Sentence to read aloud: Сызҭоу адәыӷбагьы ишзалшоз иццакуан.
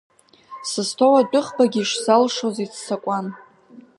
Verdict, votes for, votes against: accepted, 2, 0